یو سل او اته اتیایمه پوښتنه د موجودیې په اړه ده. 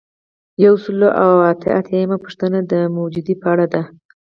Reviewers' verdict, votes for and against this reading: accepted, 4, 0